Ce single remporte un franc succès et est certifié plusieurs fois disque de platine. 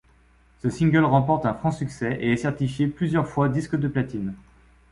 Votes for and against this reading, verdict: 2, 0, accepted